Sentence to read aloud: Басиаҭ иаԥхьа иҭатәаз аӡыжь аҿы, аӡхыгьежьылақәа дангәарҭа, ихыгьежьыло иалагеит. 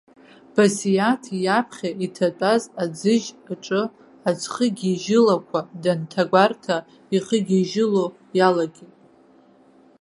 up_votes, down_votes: 1, 2